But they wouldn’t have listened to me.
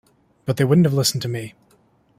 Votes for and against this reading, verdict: 3, 0, accepted